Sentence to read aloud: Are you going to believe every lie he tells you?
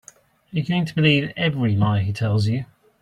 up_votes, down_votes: 1, 2